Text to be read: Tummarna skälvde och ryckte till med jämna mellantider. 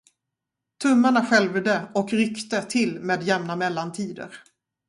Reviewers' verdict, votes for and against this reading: rejected, 0, 2